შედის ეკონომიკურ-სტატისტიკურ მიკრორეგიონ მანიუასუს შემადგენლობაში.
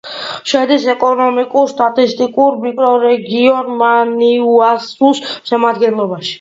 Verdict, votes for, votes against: rejected, 1, 2